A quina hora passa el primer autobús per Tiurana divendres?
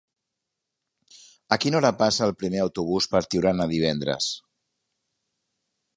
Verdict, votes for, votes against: accepted, 3, 0